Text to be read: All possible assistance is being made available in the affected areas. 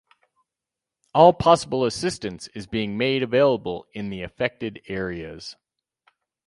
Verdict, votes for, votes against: accepted, 4, 0